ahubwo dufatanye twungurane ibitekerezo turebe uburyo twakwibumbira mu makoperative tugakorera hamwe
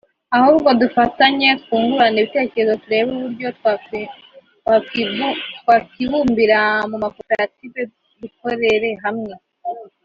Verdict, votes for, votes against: rejected, 0, 3